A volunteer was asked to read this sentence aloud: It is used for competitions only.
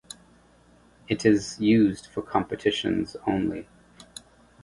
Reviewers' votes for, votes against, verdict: 2, 0, accepted